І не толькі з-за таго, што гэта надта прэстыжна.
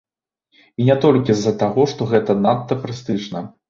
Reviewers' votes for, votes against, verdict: 2, 0, accepted